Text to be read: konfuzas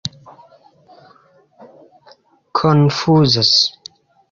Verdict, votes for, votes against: accepted, 2, 0